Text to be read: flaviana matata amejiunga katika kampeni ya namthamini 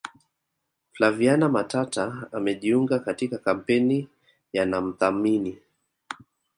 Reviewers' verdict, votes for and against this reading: rejected, 1, 2